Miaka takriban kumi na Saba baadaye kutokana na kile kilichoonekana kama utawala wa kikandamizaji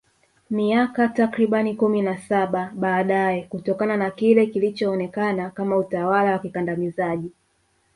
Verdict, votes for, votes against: rejected, 1, 2